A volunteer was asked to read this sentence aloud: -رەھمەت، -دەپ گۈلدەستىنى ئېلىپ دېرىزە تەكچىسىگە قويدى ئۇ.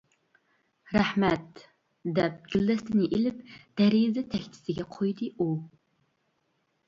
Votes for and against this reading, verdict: 2, 0, accepted